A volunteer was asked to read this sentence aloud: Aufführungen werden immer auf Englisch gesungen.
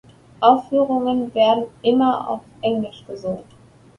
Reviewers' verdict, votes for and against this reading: accepted, 2, 0